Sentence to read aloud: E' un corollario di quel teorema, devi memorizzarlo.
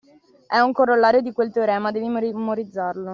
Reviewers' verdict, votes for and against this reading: rejected, 1, 2